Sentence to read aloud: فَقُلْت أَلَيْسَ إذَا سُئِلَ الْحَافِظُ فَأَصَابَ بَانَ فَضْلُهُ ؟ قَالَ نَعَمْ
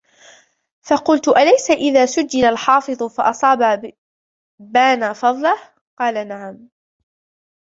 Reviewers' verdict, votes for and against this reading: rejected, 0, 2